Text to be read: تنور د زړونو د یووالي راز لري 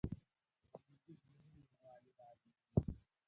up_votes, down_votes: 0, 2